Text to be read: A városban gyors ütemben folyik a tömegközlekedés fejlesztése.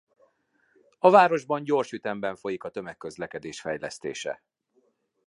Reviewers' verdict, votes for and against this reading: accepted, 2, 0